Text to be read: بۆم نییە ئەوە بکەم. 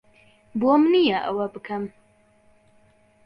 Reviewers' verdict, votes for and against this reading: accepted, 2, 0